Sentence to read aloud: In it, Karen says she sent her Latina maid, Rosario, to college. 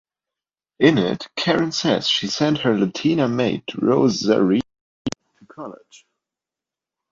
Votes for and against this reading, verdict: 1, 2, rejected